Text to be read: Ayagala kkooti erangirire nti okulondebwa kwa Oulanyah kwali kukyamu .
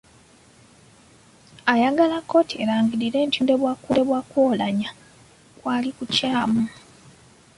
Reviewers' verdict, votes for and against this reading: accepted, 2, 1